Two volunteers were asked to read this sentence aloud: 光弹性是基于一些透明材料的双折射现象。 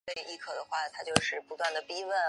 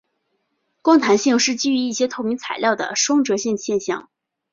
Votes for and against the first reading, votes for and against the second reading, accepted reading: 1, 2, 2, 0, second